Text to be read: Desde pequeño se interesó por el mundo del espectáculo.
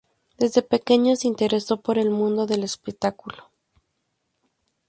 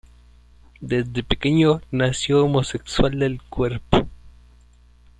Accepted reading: first